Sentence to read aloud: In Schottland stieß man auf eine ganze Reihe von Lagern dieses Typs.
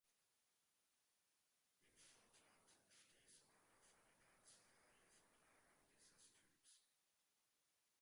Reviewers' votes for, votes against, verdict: 0, 4, rejected